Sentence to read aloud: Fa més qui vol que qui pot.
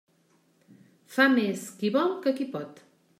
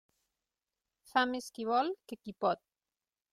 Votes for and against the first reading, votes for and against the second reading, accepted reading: 3, 0, 3, 6, first